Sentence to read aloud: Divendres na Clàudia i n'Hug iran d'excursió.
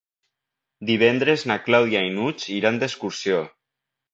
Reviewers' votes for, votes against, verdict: 2, 0, accepted